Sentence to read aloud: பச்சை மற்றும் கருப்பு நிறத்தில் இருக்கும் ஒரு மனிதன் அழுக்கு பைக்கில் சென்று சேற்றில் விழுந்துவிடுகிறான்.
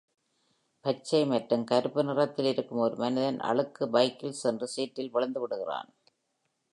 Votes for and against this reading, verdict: 2, 0, accepted